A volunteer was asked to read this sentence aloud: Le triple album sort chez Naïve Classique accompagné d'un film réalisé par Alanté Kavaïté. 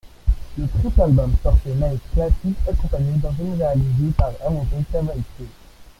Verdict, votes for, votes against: rejected, 1, 2